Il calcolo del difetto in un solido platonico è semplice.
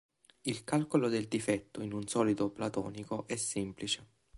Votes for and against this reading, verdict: 2, 0, accepted